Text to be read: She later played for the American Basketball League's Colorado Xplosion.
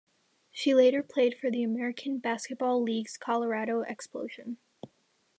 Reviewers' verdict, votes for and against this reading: accepted, 3, 0